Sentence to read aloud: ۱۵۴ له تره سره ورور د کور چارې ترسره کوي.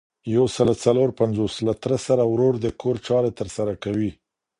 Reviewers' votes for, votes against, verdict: 0, 2, rejected